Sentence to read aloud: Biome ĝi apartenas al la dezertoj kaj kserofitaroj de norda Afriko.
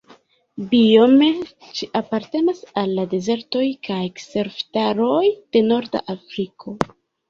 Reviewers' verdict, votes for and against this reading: rejected, 1, 2